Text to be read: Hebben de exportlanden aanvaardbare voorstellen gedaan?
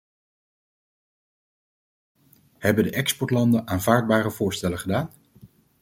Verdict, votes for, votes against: accepted, 2, 0